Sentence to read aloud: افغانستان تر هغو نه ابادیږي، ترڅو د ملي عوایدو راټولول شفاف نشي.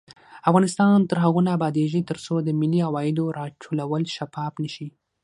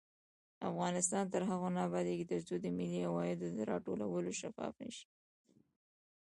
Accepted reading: first